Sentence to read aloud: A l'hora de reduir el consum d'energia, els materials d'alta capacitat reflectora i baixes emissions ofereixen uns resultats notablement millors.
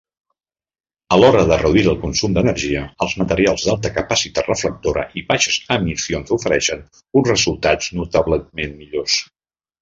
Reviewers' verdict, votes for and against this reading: rejected, 0, 2